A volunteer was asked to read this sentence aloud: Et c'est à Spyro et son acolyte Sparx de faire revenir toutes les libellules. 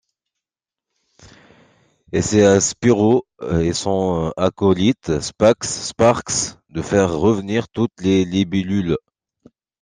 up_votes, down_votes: 1, 2